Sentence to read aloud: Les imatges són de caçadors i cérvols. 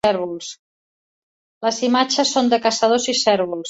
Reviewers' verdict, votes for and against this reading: rejected, 1, 2